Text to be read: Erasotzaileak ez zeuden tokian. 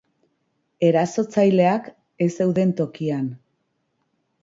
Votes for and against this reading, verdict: 3, 0, accepted